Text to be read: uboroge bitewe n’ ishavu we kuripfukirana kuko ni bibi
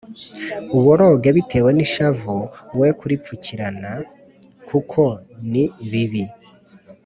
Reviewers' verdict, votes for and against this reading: accepted, 2, 0